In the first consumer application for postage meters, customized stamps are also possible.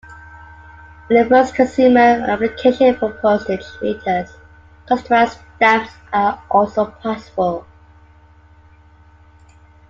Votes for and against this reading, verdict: 3, 1, accepted